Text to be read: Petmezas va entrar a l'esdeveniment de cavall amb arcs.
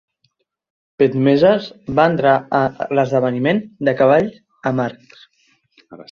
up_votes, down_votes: 2, 0